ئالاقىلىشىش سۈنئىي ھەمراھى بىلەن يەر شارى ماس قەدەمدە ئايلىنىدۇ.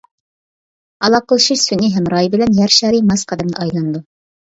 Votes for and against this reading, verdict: 2, 1, accepted